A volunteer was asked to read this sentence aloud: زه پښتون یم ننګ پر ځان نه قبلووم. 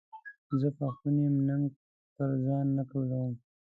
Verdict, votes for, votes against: rejected, 0, 2